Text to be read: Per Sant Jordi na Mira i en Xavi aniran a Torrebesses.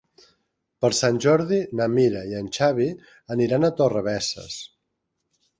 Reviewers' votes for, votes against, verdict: 3, 0, accepted